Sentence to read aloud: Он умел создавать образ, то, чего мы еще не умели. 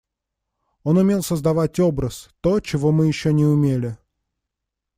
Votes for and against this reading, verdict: 2, 0, accepted